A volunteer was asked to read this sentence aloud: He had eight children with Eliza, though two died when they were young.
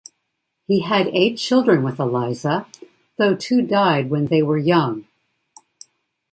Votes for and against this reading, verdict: 2, 0, accepted